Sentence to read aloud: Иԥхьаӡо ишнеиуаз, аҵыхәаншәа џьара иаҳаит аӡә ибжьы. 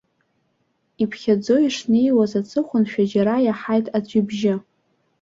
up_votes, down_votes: 2, 0